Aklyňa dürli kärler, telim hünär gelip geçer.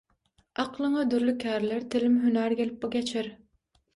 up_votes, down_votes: 3, 6